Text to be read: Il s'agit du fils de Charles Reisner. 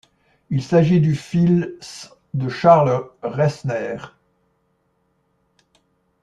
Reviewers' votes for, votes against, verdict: 0, 2, rejected